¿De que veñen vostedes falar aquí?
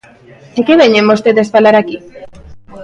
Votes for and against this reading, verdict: 2, 0, accepted